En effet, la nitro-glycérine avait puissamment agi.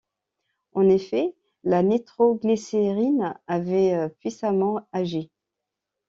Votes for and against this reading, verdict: 2, 0, accepted